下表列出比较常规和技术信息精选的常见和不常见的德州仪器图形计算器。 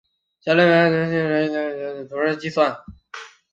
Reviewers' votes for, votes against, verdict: 1, 4, rejected